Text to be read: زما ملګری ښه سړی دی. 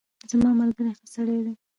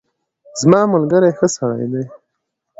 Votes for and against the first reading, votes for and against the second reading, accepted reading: 1, 2, 2, 0, second